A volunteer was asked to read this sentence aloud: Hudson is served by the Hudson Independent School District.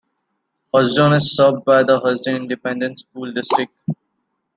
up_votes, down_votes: 2, 1